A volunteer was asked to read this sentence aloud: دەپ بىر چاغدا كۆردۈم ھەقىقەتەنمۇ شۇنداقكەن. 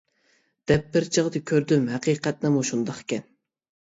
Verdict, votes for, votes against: rejected, 1, 2